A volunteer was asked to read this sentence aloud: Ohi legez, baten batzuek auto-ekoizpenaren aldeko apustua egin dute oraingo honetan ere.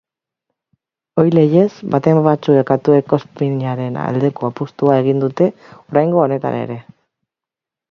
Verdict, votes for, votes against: rejected, 0, 2